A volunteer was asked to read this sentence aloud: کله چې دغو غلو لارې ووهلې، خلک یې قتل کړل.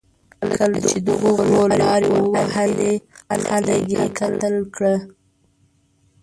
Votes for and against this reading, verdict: 0, 2, rejected